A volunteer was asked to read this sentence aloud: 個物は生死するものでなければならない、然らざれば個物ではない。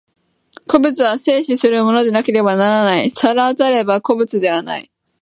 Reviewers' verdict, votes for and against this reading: rejected, 0, 2